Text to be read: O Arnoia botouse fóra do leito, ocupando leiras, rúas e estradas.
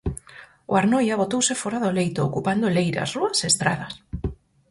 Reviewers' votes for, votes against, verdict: 4, 0, accepted